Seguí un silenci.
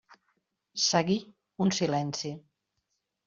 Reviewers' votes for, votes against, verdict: 3, 0, accepted